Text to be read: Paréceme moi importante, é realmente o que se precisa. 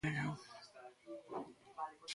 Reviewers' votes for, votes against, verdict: 0, 2, rejected